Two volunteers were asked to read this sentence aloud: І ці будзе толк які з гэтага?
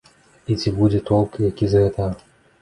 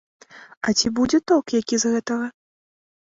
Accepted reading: first